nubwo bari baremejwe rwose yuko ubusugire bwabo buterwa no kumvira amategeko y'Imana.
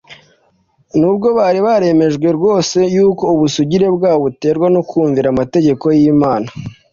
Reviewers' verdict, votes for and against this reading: accepted, 2, 0